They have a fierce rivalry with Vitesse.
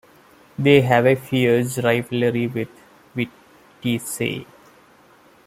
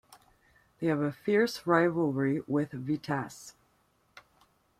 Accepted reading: second